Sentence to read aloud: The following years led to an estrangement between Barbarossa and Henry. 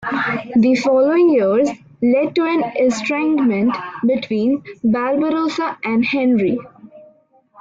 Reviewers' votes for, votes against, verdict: 2, 0, accepted